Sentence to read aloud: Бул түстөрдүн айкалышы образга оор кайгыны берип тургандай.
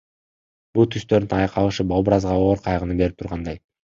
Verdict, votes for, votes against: rejected, 1, 2